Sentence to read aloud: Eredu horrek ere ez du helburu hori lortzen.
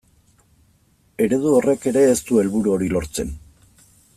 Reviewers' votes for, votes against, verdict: 2, 0, accepted